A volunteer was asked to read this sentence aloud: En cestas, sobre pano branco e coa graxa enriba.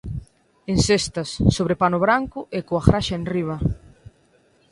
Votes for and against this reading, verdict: 2, 0, accepted